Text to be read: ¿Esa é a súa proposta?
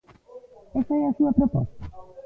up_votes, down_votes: 2, 0